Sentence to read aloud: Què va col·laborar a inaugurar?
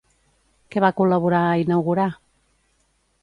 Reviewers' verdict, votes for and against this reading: accepted, 2, 0